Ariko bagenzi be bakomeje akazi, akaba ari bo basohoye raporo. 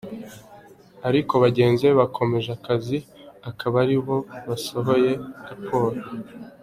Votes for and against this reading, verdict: 2, 1, accepted